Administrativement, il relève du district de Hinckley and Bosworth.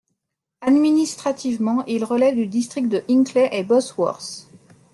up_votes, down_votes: 2, 0